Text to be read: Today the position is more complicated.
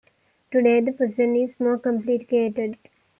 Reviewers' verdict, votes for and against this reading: accepted, 2, 1